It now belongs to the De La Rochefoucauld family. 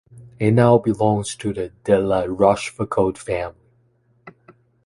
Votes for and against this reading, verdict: 2, 1, accepted